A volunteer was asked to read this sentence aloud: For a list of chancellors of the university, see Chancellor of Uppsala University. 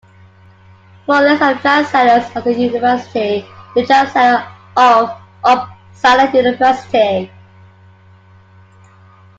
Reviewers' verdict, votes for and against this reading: rejected, 0, 3